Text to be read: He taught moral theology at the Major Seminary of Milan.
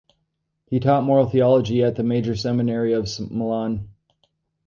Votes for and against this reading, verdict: 0, 2, rejected